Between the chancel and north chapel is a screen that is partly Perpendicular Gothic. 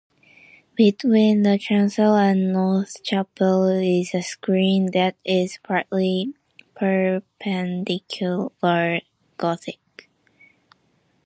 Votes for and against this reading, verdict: 2, 1, accepted